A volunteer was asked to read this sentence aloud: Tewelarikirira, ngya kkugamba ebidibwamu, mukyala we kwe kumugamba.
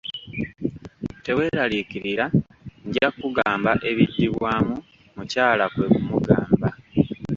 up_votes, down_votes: 0, 2